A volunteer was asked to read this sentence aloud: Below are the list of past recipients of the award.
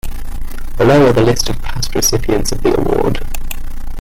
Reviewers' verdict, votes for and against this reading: accepted, 2, 1